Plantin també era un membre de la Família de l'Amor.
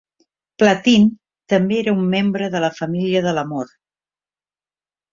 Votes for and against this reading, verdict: 1, 2, rejected